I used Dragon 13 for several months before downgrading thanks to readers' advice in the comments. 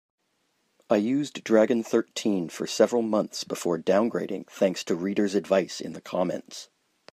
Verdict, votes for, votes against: rejected, 0, 2